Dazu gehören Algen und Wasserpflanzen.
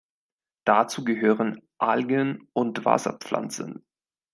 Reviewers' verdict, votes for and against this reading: accepted, 2, 0